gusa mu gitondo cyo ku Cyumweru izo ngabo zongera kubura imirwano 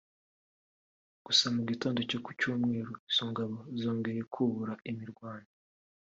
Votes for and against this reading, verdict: 2, 0, accepted